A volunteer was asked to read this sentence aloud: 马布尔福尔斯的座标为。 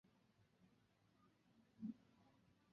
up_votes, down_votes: 1, 4